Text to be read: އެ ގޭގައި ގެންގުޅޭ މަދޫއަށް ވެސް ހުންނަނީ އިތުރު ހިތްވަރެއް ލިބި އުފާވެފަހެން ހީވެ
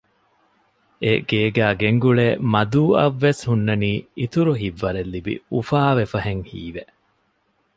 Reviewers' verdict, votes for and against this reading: accepted, 2, 0